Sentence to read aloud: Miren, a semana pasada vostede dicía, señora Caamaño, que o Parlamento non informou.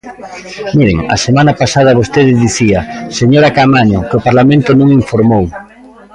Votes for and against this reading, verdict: 0, 2, rejected